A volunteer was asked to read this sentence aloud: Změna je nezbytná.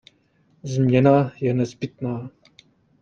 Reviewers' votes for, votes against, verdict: 2, 0, accepted